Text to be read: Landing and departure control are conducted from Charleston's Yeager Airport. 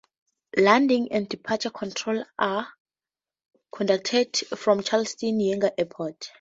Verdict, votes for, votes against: rejected, 0, 2